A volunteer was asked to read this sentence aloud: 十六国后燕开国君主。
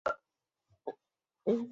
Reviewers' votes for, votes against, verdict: 1, 2, rejected